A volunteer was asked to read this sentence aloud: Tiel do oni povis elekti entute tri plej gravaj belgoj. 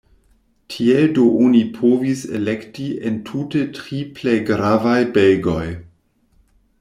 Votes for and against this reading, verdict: 1, 2, rejected